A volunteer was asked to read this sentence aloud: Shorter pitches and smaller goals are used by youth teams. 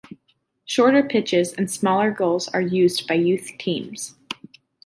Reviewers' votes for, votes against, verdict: 2, 0, accepted